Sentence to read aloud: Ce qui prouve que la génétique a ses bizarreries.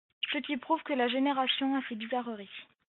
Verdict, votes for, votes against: rejected, 1, 2